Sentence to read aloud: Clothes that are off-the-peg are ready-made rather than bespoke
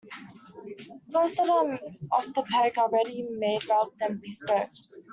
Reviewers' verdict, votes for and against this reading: accepted, 2, 1